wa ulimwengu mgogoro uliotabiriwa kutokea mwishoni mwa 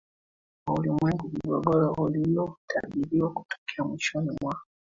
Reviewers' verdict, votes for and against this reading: accepted, 2, 1